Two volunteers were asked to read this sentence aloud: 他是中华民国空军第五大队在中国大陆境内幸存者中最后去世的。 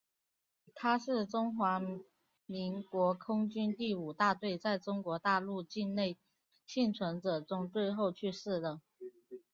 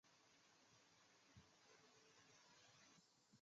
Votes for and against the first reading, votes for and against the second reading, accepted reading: 3, 1, 0, 2, first